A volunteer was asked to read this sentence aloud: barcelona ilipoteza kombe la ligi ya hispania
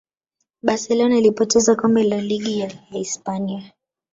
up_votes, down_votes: 1, 2